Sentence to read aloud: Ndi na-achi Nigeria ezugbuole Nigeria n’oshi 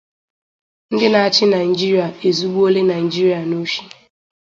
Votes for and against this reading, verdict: 2, 0, accepted